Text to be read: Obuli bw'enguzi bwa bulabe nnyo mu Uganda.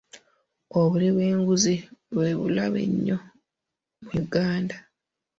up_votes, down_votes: 0, 2